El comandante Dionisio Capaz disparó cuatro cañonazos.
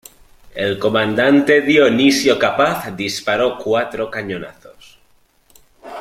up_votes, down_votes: 2, 0